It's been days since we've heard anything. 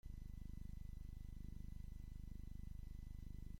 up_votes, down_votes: 0, 2